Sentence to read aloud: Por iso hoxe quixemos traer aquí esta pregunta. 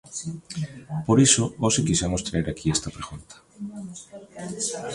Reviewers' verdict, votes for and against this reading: rejected, 0, 2